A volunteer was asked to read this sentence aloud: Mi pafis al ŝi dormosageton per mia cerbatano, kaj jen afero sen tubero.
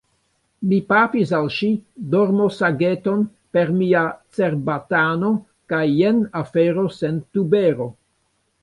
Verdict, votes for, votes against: rejected, 1, 2